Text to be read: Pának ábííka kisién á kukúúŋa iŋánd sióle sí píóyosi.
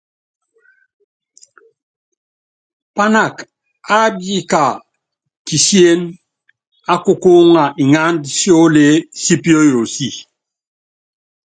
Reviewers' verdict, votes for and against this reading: accepted, 2, 0